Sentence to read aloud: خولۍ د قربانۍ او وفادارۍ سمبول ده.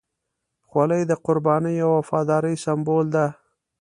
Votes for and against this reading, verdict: 2, 0, accepted